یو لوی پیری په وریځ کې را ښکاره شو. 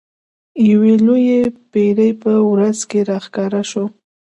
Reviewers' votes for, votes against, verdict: 1, 2, rejected